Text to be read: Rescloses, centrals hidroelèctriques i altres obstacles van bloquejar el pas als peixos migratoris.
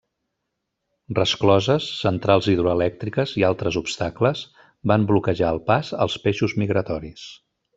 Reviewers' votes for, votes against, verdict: 2, 0, accepted